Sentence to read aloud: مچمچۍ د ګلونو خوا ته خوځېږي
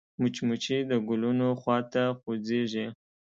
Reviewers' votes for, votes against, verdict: 2, 0, accepted